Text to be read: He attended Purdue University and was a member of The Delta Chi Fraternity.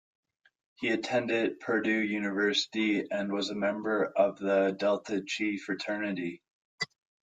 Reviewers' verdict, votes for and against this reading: accepted, 2, 1